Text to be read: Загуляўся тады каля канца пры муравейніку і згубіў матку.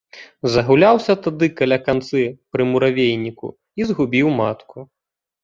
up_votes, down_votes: 0, 2